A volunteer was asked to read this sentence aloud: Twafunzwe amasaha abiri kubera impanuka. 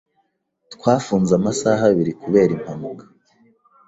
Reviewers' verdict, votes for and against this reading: rejected, 1, 2